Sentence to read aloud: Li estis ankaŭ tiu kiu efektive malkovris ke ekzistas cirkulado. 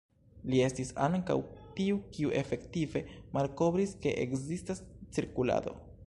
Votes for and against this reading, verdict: 1, 2, rejected